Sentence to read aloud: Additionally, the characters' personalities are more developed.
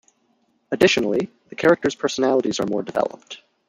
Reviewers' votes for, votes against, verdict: 0, 2, rejected